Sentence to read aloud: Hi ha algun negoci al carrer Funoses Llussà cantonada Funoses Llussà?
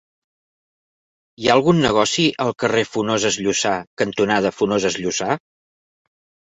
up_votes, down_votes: 2, 0